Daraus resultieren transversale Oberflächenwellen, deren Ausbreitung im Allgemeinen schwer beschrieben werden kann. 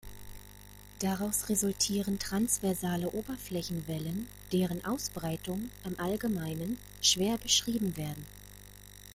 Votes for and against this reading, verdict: 1, 2, rejected